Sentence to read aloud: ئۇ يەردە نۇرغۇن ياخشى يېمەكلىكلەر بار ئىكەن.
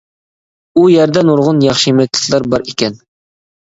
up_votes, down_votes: 1, 2